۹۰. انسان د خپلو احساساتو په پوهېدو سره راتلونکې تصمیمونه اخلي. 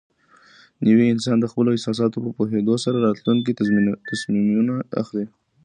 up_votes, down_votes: 0, 2